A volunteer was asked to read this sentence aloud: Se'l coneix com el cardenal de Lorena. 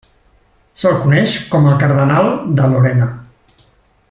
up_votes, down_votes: 3, 0